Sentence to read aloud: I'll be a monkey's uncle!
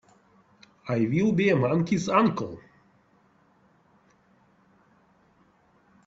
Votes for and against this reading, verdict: 0, 2, rejected